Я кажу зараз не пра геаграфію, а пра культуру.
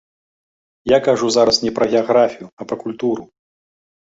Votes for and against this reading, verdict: 2, 0, accepted